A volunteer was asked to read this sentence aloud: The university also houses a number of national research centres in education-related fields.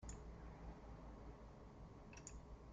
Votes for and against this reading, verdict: 0, 2, rejected